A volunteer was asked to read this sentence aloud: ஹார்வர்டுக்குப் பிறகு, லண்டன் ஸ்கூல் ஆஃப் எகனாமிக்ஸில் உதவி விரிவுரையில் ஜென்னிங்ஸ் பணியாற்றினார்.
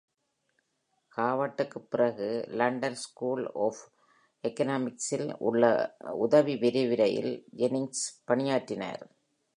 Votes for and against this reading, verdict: 1, 2, rejected